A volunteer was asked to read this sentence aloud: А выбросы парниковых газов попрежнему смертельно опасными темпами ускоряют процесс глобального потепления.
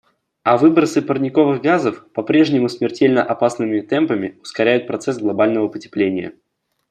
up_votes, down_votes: 2, 0